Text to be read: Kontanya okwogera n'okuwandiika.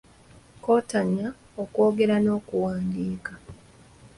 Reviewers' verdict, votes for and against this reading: accepted, 3, 0